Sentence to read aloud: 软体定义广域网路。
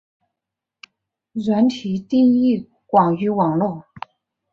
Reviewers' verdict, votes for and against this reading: accepted, 3, 0